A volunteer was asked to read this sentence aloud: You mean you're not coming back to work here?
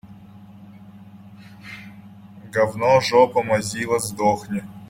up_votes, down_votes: 0, 3